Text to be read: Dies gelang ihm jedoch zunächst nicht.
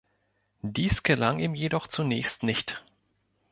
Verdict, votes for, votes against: accepted, 2, 0